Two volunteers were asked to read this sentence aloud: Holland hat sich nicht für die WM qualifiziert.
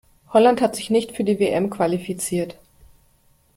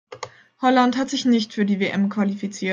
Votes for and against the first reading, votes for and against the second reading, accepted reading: 2, 0, 0, 2, first